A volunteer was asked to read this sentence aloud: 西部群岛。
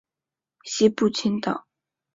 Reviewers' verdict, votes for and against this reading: accepted, 2, 0